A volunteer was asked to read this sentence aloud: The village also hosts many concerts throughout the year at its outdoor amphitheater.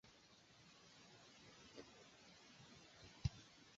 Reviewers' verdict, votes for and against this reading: rejected, 0, 2